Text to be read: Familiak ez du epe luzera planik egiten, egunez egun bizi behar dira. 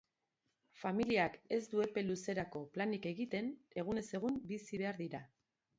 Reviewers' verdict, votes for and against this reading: rejected, 1, 2